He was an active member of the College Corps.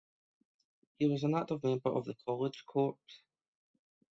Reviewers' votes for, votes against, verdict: 1, 2, rejected